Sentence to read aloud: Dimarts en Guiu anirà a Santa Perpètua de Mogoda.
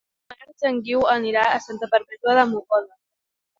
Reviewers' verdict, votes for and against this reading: rejected, 1, 2